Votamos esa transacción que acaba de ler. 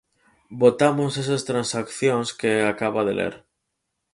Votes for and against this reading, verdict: 0, 4, rejected